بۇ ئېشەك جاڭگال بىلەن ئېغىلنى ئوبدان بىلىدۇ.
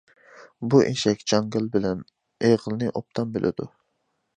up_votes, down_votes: 2, 0